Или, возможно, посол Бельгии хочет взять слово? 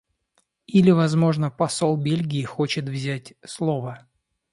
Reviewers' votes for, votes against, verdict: 2, 0, accepted